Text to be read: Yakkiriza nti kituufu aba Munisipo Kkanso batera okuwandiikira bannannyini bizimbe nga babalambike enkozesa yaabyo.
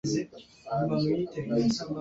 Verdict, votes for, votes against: rejected, 0, 2